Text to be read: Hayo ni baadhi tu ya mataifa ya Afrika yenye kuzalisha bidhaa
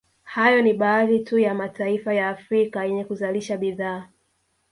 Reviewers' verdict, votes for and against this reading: rejected, 1, 2